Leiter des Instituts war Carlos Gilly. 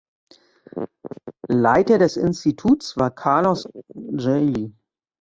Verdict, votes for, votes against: rejected, 0, 2